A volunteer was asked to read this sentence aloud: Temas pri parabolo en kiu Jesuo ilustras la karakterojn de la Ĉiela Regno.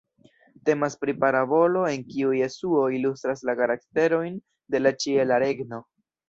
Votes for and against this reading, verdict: 1, 2, rejected